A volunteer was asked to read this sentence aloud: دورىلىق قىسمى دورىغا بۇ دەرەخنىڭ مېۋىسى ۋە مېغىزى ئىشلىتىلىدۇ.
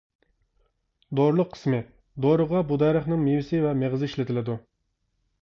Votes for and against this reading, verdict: 2, 0, accepted